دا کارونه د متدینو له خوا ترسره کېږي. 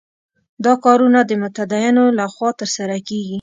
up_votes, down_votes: 2, 0